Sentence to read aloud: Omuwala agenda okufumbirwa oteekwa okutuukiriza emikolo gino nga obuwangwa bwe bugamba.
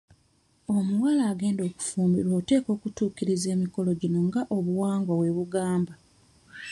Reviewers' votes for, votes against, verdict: 2, 0, accepted